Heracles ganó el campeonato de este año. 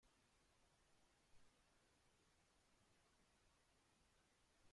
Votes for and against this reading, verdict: 0, 2, rejected